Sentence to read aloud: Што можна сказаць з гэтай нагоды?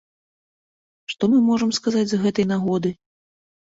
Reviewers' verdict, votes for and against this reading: rejected, 1, 2